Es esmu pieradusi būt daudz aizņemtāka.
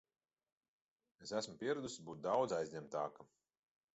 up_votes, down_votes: 2, 0